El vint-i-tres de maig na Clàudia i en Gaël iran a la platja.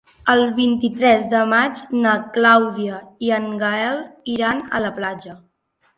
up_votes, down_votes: 3, 0